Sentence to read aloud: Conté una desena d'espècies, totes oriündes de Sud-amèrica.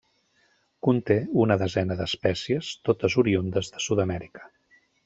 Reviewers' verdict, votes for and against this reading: accepted, 2, 0